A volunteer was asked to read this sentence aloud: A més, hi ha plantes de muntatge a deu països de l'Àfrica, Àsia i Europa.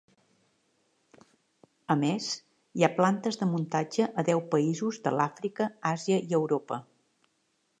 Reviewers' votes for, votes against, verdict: 3, 0, accepted